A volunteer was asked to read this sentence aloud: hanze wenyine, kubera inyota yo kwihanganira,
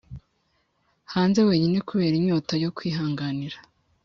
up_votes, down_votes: 3, 0